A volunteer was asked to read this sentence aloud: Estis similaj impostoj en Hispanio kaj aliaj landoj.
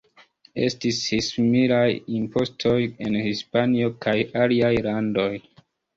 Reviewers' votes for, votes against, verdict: 2, 1, accepted